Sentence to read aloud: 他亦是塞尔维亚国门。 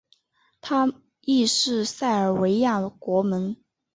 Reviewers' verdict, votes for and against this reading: rejected, 1, 2